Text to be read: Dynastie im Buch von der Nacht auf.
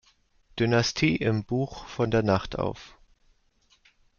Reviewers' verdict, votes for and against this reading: rejected, 0, 2